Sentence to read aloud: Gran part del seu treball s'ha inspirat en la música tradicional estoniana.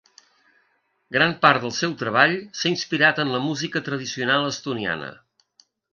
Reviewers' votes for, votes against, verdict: 4, 0, accepted